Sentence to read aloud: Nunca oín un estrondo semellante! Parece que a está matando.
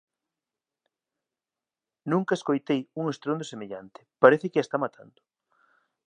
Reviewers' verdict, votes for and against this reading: rejected, 0, 2